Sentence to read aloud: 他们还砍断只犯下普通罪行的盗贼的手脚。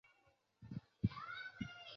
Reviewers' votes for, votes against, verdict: 1, 4, rejected